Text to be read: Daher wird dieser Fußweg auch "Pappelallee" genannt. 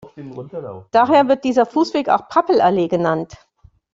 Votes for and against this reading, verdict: 1, 2, rejected